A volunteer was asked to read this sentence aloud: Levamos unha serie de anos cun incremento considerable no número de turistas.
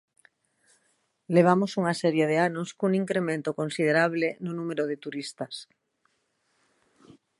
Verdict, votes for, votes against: accepted, 2, 0